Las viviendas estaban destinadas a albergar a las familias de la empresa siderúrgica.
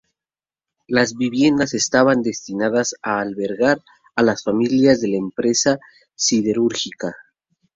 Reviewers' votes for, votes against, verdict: 0, 2, rejected